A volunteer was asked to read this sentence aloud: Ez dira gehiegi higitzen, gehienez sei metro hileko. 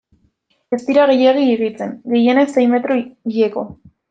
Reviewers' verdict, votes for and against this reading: accepted, 2, 1